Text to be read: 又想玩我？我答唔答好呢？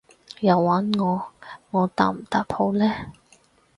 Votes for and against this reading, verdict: 2, 4, rejected